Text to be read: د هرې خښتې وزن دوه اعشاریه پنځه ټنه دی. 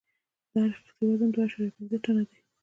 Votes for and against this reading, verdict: 0, 2, rejected